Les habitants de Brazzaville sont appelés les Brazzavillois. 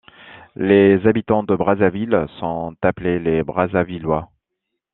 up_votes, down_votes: 2, 0